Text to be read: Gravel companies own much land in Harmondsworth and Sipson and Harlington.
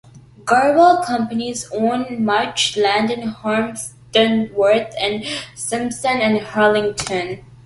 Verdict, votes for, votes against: accepted, 2, 1